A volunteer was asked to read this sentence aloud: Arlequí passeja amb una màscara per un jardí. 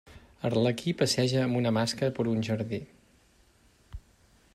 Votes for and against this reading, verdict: 0, 2, rejected